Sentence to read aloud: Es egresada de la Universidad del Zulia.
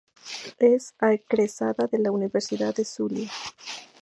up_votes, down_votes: 0, 2